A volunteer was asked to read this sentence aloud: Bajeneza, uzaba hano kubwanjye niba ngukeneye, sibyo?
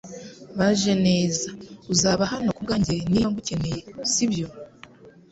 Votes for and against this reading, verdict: 3, 0, accepted